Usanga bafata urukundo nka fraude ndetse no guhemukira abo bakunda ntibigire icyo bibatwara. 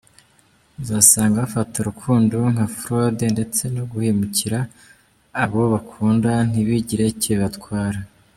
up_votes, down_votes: 2, 0